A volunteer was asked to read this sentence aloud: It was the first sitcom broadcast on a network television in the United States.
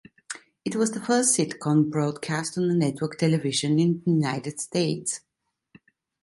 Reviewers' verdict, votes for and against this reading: rejected, 0, 2